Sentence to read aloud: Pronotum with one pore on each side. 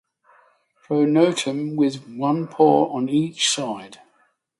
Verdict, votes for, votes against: accepted, 6, 0